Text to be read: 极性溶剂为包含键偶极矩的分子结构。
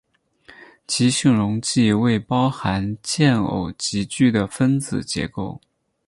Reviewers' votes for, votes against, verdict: 4, 2, accepted